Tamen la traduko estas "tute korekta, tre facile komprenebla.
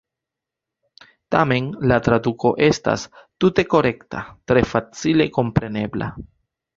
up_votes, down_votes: 3, 0